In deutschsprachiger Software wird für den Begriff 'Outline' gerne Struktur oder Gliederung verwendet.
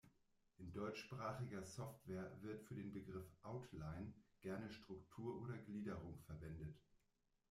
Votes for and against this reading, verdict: 1, 2, rejected